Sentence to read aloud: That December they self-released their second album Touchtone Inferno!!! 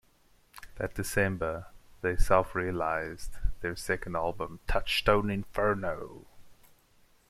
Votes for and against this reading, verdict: 2, 0, accepted